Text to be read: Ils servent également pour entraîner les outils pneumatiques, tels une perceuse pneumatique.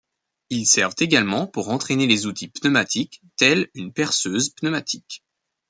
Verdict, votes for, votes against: accepted, 2, 0